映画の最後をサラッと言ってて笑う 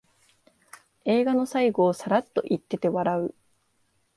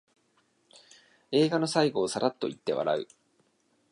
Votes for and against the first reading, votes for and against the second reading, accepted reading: 2, 0, 0, 2, first